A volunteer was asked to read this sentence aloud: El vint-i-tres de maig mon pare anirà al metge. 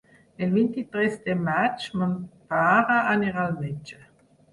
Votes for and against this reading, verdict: 0, 4, rejected